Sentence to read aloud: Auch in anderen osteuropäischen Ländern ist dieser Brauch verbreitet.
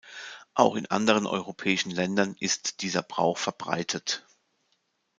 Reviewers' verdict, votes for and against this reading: rejected, 1, 2